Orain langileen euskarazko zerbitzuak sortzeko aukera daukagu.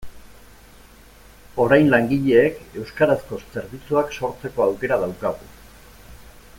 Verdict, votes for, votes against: rejected, 1, 2